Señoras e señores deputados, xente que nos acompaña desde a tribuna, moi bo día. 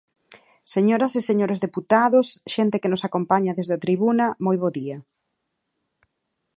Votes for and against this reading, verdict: 4, 0, accepted